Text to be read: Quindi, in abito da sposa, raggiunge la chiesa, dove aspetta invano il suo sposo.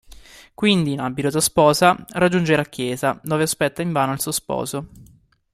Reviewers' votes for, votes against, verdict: 2, 0, accepted